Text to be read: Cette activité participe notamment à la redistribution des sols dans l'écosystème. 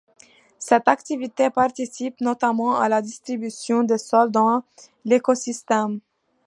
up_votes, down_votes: 1, 2